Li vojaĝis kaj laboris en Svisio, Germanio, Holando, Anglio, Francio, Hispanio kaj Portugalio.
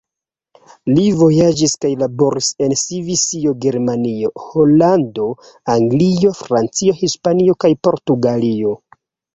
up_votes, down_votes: 1, 2